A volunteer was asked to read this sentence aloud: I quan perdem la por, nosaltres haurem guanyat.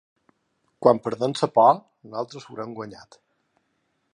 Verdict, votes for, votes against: rejected, 1, 2